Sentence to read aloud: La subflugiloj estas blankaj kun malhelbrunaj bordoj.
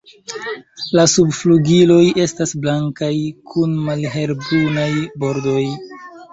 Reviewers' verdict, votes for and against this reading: rejected, 1, 2